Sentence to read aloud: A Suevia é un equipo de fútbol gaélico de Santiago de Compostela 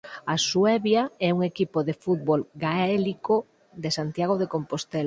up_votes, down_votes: 2, 4